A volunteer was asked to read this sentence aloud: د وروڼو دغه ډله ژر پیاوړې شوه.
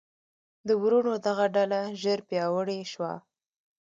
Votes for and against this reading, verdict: 2, 1, accepted